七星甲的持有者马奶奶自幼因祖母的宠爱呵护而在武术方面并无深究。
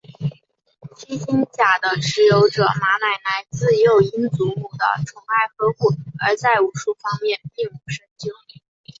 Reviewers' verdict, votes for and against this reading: rejected, 1, 3